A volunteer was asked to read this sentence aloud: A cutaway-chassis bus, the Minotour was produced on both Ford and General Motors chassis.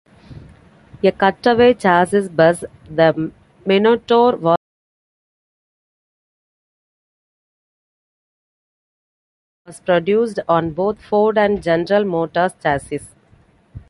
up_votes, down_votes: 0, 2